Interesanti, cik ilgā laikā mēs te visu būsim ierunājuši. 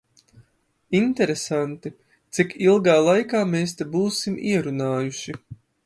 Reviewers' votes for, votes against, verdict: 0, 3, rejected